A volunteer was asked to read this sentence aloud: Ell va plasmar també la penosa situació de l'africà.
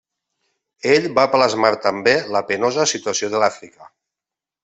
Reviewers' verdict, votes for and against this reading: rejected, 1, 2